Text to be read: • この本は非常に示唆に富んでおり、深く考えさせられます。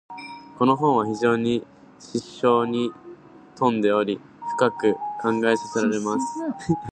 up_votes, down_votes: 0, 2